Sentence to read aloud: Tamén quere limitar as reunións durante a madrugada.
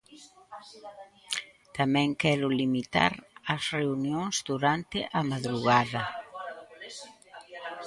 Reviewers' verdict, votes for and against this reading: rejected, 0, 2